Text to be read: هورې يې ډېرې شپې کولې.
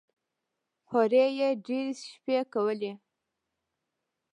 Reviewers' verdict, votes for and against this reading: rejected, 1, 2